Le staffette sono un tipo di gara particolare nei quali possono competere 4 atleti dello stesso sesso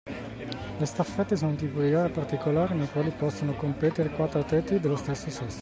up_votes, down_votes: 0, 2